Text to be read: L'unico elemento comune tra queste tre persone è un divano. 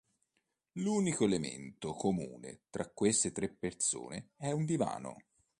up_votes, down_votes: 2, 0